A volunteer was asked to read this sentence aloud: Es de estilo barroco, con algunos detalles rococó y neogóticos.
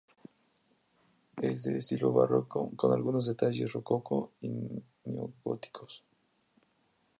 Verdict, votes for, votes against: accepted, 2, 0